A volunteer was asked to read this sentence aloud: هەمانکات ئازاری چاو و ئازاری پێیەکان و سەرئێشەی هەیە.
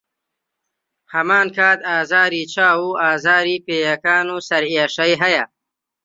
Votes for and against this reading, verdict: 2, 0, accepted